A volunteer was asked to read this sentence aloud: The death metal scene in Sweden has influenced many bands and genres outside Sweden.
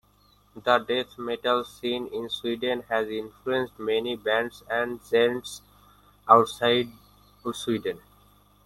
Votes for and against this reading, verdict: 0, 2, rejected